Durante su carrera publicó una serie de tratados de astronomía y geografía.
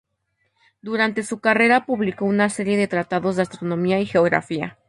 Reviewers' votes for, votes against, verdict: 4, 0, accepted